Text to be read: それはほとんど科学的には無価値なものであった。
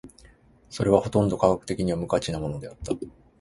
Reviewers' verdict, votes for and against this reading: rejected, 2, 2